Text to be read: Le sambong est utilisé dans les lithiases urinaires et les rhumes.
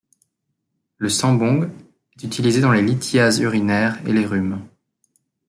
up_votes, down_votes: 3, 1